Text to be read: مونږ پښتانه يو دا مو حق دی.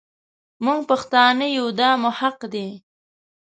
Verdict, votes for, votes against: accepted, 2, 0